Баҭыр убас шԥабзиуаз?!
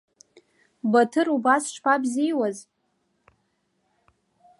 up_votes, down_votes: 2, 0